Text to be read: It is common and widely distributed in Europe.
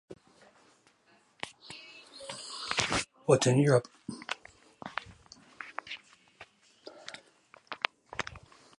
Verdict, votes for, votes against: rejected, 0, 4